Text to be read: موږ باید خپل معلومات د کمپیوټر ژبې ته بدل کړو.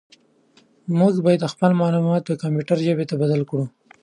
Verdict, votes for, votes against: accepted, 2, 0